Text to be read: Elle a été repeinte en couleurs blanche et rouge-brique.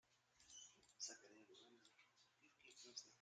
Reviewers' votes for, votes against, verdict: 0, 2, rejected